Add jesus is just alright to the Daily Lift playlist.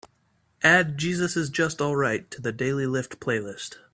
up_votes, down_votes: 4, 0